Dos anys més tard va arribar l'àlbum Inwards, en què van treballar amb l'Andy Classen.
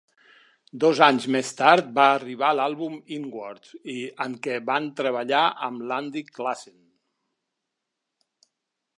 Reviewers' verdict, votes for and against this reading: rejected, 1, 2